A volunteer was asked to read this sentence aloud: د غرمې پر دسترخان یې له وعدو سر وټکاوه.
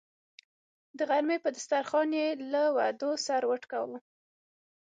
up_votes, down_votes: 6, 0